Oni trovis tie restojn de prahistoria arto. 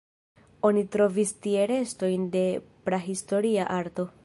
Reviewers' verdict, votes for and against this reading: rejected, 1, 2